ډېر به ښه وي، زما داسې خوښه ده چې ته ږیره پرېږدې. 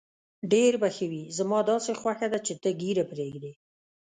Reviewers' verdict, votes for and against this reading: accepted, 2, 0